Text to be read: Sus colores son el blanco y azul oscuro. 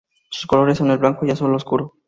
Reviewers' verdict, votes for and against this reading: accepted, 2, 0